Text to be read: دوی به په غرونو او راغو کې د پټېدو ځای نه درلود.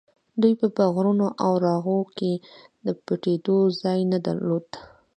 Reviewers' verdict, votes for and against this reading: accepted, 2, 0